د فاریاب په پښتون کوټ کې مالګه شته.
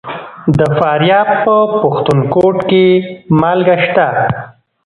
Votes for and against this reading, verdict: 2, 0, accepted